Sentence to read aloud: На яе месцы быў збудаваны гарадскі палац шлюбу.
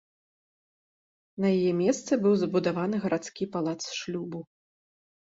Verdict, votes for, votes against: accepted, 2, 0